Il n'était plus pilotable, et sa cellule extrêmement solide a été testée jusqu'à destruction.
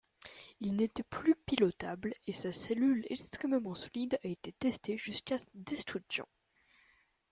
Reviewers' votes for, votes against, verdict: 1, 2, rejected